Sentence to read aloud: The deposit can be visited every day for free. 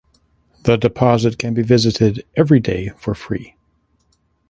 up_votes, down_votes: 2, 0